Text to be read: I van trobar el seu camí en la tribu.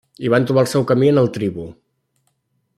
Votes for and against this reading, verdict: 1, 2, rejected